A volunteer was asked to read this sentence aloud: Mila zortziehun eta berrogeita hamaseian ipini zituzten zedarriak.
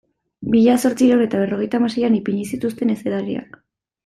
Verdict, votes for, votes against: rejected, 1, 2